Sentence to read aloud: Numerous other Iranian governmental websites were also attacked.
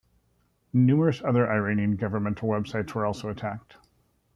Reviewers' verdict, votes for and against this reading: rejected, 1, 2